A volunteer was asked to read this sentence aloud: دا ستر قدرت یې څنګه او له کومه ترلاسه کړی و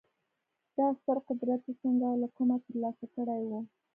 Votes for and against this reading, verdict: 1, 2, rejected